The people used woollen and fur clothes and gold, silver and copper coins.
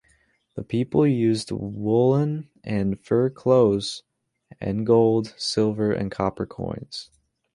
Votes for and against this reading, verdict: 1, 2, rejected